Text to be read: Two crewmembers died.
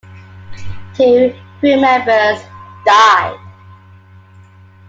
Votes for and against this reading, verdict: 2, 0, accepted